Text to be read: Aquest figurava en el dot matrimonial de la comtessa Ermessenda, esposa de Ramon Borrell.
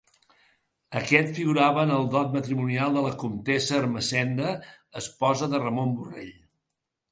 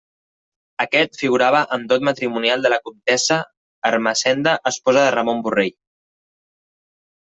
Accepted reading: first